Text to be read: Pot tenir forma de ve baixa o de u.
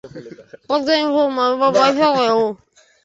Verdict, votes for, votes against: rejected, 0, 3